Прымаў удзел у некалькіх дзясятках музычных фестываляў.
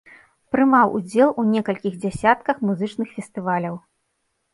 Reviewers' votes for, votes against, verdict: 2, 0, accepted